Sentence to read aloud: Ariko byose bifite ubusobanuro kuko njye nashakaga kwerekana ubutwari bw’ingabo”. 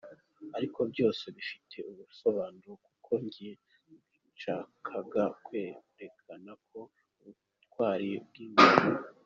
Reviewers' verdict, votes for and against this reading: rejected, 0, 2